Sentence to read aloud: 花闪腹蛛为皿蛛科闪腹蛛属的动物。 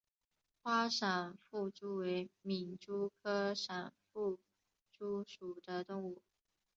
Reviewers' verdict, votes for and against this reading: rejected, 2, 3